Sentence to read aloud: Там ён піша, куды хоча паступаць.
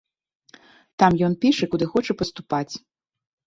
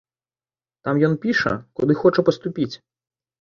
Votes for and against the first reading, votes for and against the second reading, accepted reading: 2, 0, 1, 3, first